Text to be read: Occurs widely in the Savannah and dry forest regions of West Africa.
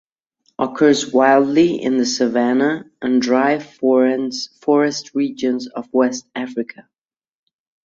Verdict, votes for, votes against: rejected, 0, 2